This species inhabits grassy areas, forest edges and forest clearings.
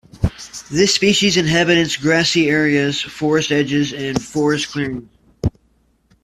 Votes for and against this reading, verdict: 1, 2, rejected